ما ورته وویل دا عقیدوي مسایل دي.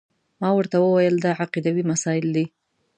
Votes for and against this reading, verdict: 2, 0, accepted